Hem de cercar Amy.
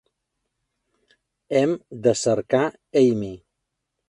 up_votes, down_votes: 2, 0